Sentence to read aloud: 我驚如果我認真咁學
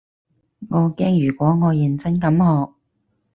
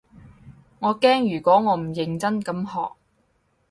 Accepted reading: first